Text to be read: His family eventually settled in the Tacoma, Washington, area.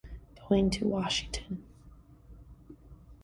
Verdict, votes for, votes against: rejected, 0, 2